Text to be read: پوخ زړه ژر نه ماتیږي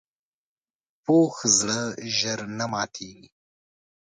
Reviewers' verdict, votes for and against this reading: accepted, 2, 0